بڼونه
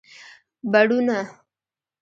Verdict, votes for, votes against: rejected, 0, 2